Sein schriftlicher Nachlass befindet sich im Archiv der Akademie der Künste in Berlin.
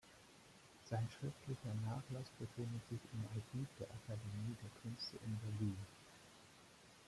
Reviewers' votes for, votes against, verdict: 1, 2, rejected